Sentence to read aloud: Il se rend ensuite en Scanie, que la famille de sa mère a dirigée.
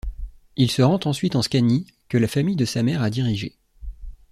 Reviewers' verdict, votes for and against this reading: accepted, 2, 0